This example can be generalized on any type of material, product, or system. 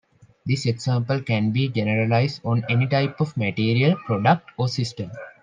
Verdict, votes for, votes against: accepted, 2, 0